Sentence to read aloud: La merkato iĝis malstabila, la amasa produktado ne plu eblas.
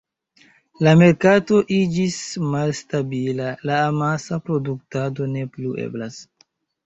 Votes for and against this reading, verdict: 0, 2, rejected